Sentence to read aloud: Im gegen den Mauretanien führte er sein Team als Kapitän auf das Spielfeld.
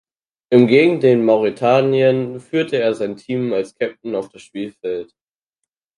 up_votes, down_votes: 2, 4